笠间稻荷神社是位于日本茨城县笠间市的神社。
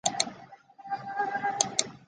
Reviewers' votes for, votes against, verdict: 0, 4, rejected